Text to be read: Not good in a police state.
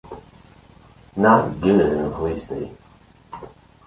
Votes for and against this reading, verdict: 1, 2, rejected